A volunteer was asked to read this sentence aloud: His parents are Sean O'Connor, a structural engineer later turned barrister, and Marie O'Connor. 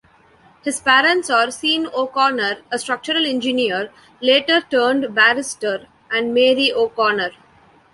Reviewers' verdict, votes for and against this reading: rejected, 1, 2